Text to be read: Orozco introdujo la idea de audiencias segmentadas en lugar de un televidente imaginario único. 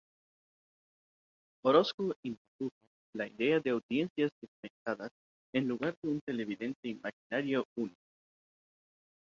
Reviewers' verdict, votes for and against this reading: rejected, 0, 2